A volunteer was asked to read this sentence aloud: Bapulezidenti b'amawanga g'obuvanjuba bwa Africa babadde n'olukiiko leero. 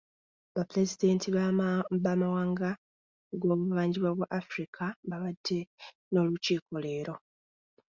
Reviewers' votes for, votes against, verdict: 1, 2, rejected